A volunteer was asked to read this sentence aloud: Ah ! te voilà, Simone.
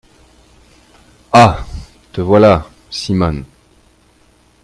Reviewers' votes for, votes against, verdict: 2, 1, accepted